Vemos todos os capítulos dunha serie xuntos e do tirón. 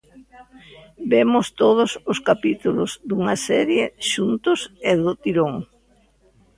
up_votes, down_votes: 2, 0